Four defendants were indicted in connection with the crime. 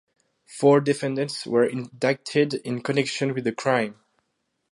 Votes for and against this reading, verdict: 4, 0, accepted